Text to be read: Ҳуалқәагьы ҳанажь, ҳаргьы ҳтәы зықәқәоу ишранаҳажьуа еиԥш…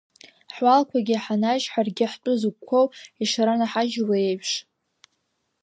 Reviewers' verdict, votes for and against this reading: rejected, 1, 2